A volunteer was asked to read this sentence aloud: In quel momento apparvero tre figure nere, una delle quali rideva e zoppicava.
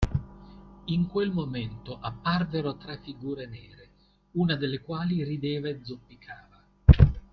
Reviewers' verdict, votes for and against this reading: accepted, 2, 0